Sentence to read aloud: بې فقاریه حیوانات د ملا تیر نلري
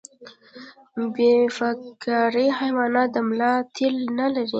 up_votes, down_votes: 2, 0